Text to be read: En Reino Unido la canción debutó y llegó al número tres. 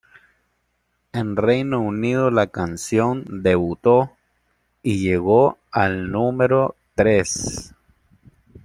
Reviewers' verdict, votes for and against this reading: accepted, 2, 0